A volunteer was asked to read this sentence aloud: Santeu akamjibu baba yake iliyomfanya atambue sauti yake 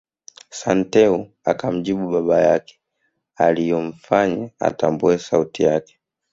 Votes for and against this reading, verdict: 1, 3, rejected